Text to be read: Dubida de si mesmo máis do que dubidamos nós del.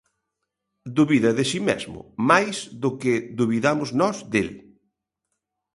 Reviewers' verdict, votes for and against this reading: accepted, 3, 0